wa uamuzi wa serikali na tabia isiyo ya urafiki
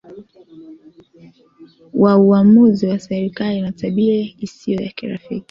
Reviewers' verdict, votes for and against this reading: rejected, 0, 2